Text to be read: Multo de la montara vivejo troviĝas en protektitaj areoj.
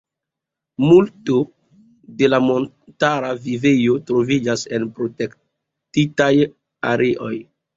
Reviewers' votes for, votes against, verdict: 2, 0, accepted